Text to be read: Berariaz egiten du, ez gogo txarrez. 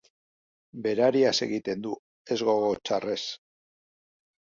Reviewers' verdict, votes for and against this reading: accepted, 2, 0